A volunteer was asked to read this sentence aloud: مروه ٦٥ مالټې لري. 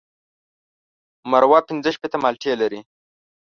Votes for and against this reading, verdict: 0, 2, rejected